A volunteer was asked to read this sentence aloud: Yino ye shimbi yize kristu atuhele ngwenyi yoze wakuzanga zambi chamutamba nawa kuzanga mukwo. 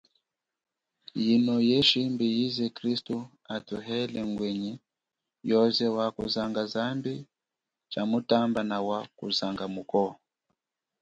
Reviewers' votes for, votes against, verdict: 2, 0, accepted